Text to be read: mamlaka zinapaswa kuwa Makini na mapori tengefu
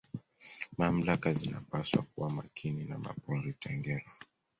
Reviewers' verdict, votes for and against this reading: accepted, 2, 1